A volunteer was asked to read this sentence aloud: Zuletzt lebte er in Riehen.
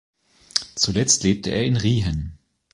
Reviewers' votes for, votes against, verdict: 2, 0, accepted